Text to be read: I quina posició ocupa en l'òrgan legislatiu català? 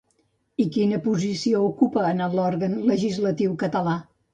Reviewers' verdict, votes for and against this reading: rejected, 0, 2